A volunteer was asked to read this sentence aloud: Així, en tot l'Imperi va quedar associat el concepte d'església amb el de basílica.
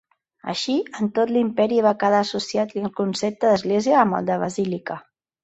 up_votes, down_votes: 3, 0